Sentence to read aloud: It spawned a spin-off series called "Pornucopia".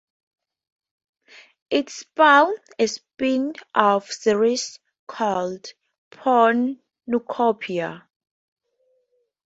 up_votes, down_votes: 4, 0